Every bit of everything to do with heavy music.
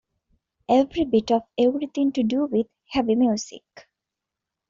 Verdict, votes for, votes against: accepted, 2, 0